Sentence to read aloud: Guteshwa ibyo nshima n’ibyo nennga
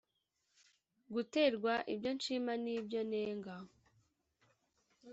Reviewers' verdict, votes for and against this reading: rejected, 1, 2